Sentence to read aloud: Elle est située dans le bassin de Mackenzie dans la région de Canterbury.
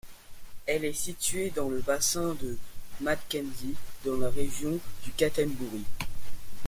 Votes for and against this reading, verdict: 0, 2, rejected